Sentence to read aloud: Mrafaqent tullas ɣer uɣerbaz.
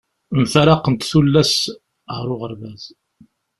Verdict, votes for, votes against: rejected, 0, 2